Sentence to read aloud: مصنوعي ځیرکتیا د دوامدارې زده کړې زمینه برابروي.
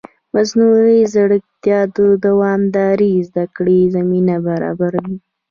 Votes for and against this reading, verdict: 0, 2, rejected